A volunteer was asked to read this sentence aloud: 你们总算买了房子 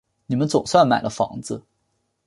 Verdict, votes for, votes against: accepted, 3, 0